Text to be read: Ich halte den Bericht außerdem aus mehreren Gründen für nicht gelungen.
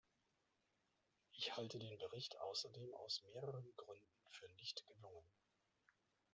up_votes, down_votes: 2, 0